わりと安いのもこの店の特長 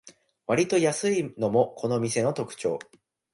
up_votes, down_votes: 3, 0